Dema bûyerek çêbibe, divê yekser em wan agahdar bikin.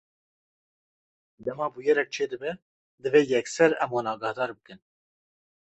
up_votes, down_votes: 0, 2